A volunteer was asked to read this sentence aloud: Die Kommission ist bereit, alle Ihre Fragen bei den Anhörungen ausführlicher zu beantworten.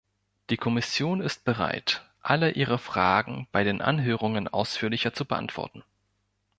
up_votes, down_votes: 3, 0